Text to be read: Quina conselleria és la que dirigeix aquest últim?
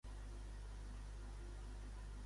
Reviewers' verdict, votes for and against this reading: rejected, 1, 3